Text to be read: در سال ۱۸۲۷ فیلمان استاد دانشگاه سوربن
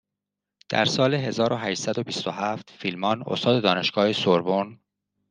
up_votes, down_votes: 0, 2